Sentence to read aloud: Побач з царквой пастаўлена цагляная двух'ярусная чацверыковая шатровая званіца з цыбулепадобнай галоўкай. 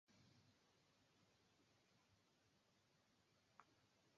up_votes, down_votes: 0, 2